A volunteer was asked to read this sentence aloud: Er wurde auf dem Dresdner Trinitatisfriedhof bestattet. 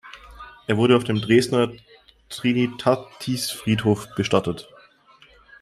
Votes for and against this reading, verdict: 0, 2, rejected